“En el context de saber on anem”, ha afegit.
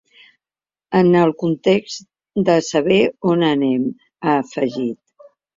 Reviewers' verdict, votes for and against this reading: accepted, 3, 0